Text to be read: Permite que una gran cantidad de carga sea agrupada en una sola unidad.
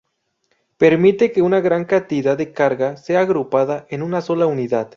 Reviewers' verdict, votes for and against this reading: accepted, 4, 0